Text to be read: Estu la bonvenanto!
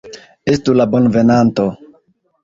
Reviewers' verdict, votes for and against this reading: accepted, 2, 1